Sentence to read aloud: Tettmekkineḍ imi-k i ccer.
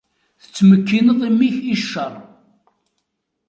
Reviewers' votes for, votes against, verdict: 2, 0, accepted